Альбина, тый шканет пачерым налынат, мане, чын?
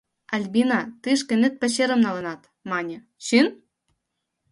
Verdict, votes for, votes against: rejected, 1, 2